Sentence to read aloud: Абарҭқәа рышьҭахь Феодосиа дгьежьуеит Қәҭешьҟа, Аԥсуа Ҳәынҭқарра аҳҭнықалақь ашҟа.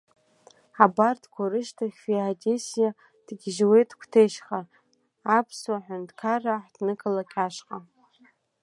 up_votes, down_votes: 0, 2